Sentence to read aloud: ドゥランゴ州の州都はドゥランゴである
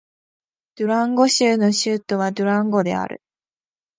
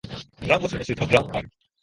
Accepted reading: first